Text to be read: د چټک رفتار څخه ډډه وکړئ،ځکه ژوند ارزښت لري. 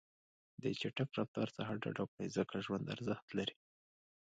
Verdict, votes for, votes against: accepted, 2, 0